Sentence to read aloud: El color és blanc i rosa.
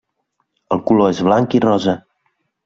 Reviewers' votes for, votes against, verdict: 3, 0, accepted